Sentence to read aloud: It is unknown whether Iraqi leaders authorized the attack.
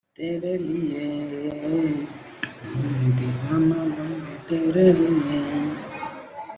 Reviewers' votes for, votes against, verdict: 0, 2, rejected